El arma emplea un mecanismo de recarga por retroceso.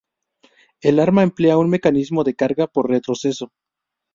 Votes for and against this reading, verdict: 2, 0, accepted